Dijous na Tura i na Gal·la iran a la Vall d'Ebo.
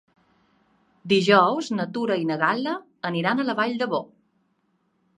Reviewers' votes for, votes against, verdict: 0, 2, rejected